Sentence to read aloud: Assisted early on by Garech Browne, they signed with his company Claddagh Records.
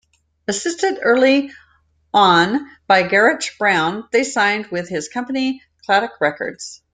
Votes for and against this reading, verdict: 0, 2, rejected